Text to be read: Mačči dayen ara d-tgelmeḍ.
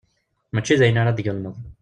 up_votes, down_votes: 1, 2